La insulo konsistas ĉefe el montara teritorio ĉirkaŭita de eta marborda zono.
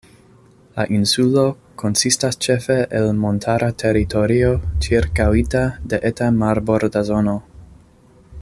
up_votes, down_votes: 2, 0